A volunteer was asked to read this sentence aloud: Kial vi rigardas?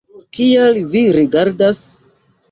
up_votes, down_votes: 1, 2